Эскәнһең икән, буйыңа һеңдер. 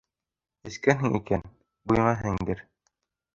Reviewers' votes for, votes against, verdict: 1, 2, rejected